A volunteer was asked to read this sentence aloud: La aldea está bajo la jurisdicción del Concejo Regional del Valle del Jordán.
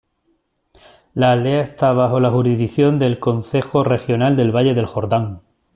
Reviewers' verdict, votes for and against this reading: accepted, 2, 0